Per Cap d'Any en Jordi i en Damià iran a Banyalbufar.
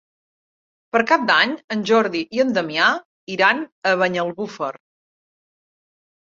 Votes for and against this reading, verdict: 2, 0, accepted